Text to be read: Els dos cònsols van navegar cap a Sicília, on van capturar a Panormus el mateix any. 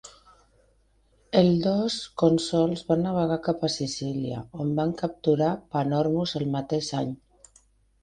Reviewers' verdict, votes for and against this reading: rejected, 1, 4